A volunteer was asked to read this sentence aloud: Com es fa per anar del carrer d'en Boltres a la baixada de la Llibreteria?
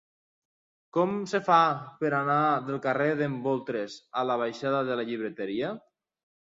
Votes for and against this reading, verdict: 0, 2, rejected